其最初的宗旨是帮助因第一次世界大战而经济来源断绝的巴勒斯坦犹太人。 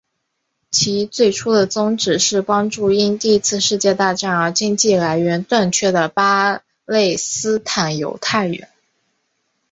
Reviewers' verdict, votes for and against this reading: accepted, 2, 0